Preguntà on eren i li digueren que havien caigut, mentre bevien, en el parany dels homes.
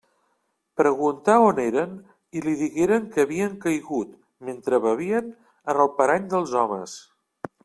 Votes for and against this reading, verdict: 3, 0, accepted